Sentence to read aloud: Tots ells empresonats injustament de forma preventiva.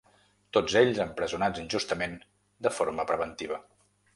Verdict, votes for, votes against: accepted, 3, 0